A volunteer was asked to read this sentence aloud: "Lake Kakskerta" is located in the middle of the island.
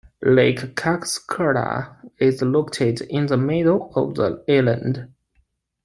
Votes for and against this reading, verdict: 0, 2, rejected